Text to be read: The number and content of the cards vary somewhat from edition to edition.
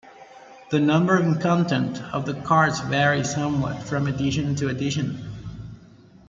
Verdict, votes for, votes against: rejected, 1, 2